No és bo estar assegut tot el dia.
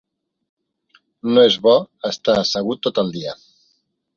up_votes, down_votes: 3, 0